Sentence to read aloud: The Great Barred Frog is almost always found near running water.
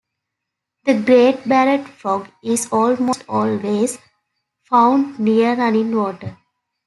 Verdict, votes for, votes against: rejected, 1, 2